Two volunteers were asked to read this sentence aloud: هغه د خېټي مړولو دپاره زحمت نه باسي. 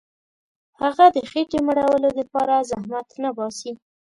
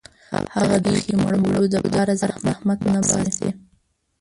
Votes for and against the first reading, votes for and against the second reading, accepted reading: 2, 0, 0, 2, first